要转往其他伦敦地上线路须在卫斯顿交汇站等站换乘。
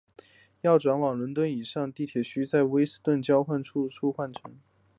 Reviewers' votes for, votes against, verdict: 2, 0, accepted